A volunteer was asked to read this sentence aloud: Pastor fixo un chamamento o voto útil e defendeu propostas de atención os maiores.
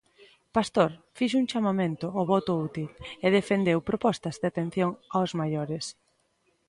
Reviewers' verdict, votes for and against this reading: accepted, 2, 1